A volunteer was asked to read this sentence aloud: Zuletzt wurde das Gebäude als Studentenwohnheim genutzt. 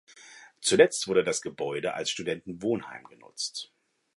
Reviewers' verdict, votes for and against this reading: accepted, 2, 0